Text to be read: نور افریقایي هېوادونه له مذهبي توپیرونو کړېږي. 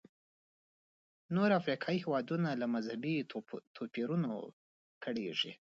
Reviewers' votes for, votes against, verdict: 2, 1, accepted